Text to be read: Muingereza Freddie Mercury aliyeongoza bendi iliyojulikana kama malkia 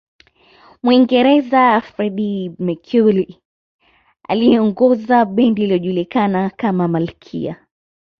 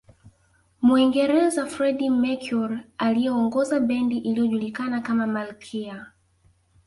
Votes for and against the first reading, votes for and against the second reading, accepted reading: 2, 0, 1, 2, first